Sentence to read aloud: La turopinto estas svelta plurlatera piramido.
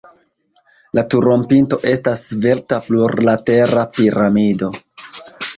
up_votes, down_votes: 0, 2